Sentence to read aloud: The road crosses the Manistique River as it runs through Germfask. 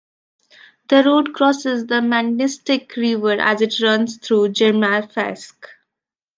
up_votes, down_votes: 1, 2